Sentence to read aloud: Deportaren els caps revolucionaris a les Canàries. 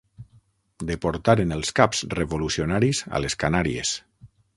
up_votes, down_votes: 12, 0